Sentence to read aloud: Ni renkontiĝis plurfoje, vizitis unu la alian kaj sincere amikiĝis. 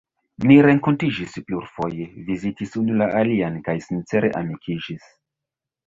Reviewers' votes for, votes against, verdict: 1, 2, rejected